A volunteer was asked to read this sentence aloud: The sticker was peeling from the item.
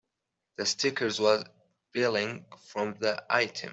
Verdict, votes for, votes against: rejected, 0, 2